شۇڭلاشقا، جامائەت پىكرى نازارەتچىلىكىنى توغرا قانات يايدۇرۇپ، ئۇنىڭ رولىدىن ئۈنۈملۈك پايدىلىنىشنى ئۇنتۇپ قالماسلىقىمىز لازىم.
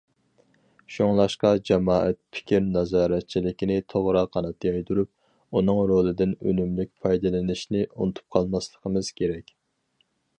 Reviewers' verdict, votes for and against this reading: rejected, 0, 4